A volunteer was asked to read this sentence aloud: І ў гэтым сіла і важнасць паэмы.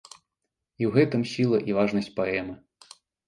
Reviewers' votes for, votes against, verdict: 1, 2, rejected